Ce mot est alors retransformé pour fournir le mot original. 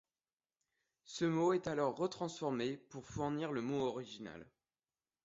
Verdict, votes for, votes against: accepted, 2, 0